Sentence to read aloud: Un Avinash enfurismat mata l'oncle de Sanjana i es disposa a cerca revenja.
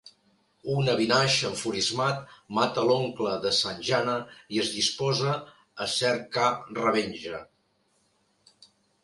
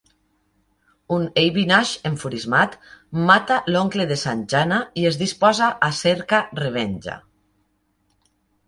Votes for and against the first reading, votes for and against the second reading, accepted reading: 2, 0, 1, 2, first